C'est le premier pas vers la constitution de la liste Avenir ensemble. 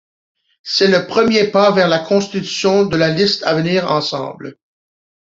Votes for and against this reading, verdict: 2, 0, accepted